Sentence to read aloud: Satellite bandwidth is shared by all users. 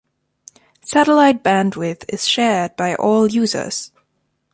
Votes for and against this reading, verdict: 2, 1, accepted